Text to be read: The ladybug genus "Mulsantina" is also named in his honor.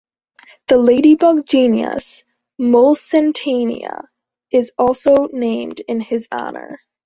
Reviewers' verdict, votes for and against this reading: accepted, 2, 0